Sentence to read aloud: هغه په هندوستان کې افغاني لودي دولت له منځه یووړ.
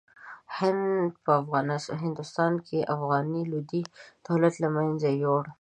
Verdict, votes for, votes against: rejected, 1, 2